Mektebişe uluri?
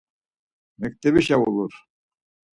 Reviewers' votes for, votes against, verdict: 0, 4, rejected